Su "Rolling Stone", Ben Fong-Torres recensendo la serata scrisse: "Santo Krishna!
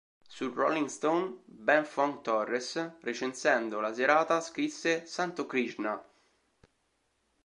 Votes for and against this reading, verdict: 2, 0, accepted